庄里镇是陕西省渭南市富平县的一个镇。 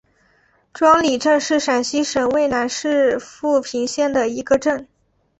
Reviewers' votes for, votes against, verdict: 3, 0, accepted